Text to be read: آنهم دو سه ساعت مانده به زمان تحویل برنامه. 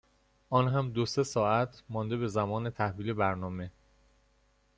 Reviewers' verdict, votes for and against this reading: accepted, 2, 0